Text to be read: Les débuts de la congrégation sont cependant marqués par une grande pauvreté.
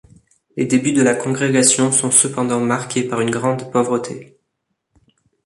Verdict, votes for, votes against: accepted, 2, 0